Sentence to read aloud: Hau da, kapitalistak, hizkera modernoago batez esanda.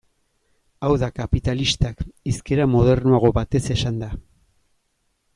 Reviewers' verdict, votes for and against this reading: accepted, 2, 1